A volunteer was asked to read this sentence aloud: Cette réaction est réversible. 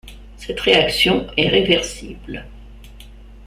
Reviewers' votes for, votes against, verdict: 2, 0, accepted